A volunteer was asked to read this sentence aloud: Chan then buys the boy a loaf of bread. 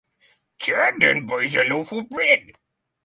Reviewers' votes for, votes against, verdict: 3, 3, rejected